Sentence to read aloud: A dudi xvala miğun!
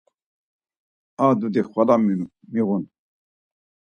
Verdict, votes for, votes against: rejected, 2, 4